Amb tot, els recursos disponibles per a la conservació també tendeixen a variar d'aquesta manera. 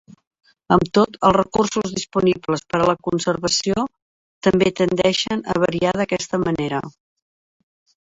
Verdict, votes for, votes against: accepted, 3, 1